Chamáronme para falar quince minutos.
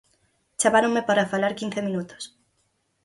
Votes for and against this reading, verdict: 4, 0, accepted